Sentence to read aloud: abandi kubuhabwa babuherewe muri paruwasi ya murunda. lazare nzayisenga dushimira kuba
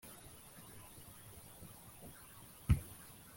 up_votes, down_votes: 0, 2